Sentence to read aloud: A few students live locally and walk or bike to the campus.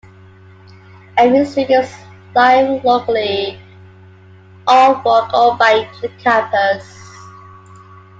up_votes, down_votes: 0, 2